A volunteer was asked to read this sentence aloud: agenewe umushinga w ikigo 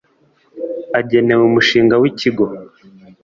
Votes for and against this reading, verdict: 2, 0, accepted